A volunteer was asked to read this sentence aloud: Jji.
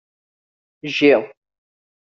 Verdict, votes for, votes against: accepted, 2, 0